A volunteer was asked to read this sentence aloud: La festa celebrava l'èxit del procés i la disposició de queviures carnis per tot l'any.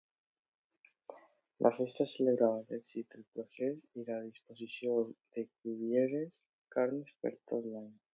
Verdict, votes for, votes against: rejected, 0, 2